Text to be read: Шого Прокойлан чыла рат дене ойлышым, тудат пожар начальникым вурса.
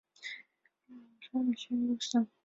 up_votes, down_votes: 0, 2